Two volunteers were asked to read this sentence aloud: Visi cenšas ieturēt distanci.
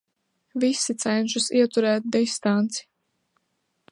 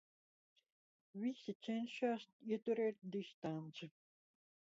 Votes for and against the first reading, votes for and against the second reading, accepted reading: 2, 0, 0, 2, first